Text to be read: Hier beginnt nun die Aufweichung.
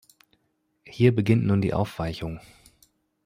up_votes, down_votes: 2, 0